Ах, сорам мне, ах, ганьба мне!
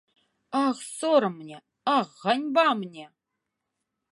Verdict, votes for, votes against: rejected, 1, 2